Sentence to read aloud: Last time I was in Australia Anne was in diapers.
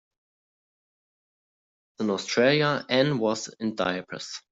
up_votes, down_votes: 0, 3